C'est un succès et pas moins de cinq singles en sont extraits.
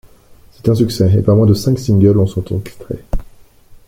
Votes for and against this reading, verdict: 0, 3, rejected